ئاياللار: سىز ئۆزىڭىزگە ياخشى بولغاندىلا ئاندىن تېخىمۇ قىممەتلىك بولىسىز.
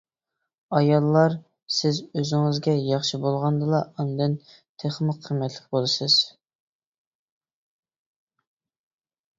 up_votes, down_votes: 2, 0